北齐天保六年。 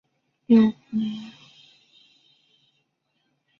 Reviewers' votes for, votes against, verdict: 0, 2, rejected